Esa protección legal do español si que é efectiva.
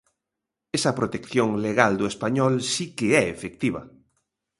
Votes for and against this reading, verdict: 2, 0, accepted